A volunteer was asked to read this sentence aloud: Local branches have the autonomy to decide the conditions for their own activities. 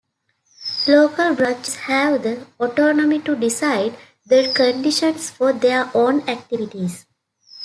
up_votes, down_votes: 2, 1